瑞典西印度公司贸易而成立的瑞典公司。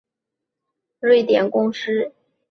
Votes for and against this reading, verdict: 0, 2, rejected